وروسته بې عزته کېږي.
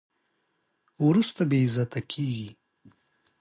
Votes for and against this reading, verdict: 2, 0, accepted